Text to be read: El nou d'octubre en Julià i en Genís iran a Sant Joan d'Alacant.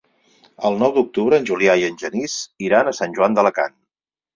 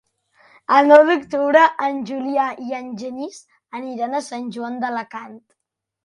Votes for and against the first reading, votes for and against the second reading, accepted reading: 4, 0, 0, 2, first